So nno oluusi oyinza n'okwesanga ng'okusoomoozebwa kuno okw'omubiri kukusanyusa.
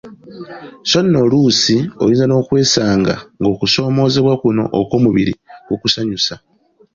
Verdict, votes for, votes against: accepted, 2, 1